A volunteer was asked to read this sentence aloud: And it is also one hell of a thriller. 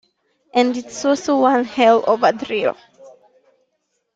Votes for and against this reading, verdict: 0, 2, rejected